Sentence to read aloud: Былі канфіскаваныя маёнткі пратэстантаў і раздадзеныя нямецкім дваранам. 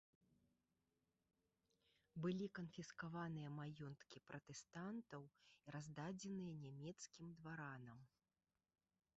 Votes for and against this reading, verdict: 1, 2, rejected